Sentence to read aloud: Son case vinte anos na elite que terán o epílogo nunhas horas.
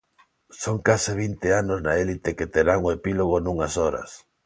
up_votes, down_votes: 0, 2